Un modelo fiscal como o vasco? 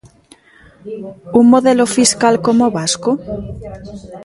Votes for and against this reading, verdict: 1, 2, rejected